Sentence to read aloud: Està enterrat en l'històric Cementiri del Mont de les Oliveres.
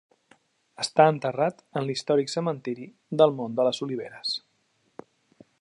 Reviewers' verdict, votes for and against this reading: accepted, 2, 0